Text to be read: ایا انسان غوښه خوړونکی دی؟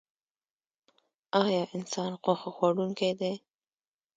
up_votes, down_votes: 0, 2